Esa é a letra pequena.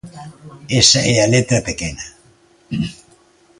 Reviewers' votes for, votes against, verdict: 2, 0, accepted